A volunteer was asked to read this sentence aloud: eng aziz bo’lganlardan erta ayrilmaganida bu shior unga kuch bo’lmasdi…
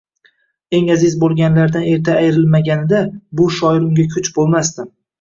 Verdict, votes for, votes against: rejected, 1, 2